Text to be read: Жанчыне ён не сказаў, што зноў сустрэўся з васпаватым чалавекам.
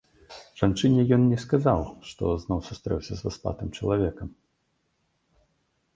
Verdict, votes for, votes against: rejected, 1, 2